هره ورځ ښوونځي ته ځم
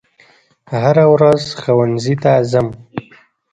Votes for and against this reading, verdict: 2, 0, accepted